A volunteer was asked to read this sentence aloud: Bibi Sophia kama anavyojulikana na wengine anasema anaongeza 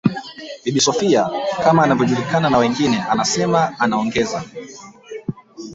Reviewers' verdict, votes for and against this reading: rejected, 1, 2